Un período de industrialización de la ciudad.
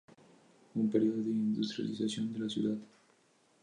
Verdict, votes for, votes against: rejected, 0, 2